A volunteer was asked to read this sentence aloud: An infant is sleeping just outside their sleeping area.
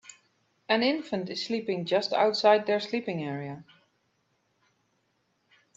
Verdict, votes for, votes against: accepted, 2, 0